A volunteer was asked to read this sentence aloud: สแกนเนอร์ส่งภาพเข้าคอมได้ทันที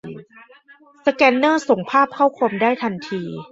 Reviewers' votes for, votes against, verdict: 2, 0, accepted